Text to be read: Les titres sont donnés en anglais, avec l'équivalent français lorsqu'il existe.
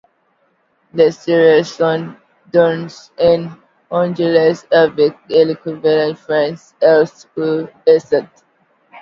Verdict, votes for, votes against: rejected, 0, 2